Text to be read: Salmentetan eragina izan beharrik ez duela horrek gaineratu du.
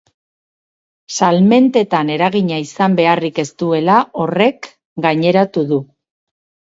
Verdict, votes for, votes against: accepted, 2, 0